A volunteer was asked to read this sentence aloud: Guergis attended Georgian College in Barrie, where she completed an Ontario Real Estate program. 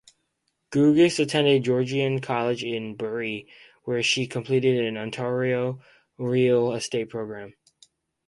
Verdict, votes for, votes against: rejected, 2, 4